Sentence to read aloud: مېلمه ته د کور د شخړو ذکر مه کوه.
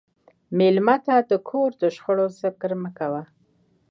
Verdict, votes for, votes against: accepted, 2, 1